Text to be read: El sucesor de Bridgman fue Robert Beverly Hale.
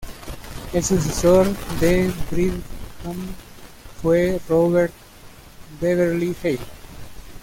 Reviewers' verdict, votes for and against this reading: rejected, 1, 2